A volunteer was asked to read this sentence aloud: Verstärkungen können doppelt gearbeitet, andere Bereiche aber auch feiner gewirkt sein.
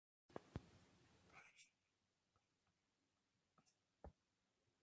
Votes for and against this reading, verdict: 0, 2, rejected